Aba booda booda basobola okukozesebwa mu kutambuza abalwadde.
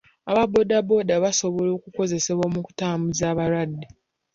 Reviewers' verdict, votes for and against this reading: accepted, 2, 0